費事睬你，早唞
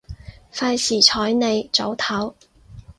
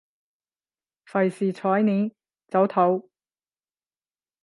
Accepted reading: first